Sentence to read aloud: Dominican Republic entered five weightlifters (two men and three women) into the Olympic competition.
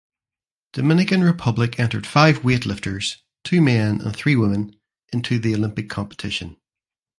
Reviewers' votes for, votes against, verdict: 2, 0, accepted